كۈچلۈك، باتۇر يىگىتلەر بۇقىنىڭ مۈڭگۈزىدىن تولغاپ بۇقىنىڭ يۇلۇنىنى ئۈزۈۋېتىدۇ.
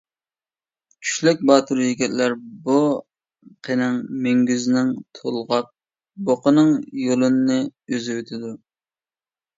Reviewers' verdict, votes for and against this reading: rejected, 0, 2